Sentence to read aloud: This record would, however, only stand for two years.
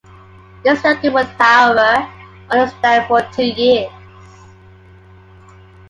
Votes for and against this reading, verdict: 2, 1, accepted